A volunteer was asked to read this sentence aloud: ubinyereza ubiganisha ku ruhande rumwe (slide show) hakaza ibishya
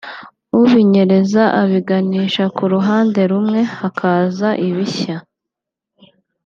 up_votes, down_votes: 0, 2